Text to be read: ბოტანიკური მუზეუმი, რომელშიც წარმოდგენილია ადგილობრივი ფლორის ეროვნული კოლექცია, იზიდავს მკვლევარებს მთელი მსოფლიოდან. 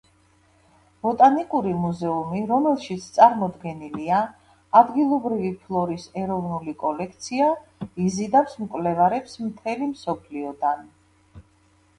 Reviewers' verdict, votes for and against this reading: rejected, 1, 2